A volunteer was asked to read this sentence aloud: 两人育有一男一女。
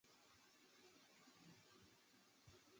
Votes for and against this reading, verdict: 0, 3, rejected